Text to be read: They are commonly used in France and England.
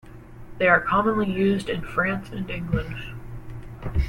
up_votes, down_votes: 2, 0